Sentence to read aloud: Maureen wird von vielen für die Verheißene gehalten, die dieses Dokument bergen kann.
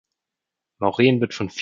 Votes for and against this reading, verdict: 0, 2, rejected